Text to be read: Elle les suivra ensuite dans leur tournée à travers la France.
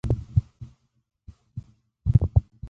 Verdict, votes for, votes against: rejected, 0, 2